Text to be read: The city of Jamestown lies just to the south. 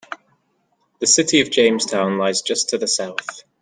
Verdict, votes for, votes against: accepted, 2, 0